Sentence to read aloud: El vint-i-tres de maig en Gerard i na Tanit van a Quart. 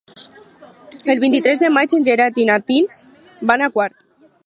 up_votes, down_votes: 0, 4